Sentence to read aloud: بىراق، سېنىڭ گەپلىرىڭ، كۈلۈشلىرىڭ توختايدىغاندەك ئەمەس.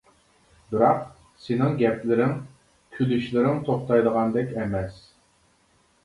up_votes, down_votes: 2, 1